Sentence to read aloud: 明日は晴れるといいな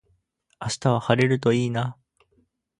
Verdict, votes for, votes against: accepted, 10, 0